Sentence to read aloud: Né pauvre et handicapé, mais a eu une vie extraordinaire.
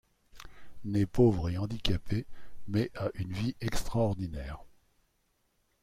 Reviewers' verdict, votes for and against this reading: rejected, 1, 2